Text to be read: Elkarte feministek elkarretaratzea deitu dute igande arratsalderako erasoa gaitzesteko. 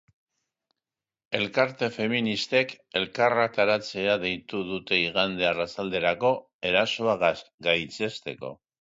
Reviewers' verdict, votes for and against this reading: rejected, 0, 2